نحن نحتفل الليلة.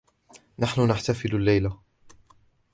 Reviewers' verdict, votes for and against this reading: accepted, 2, 0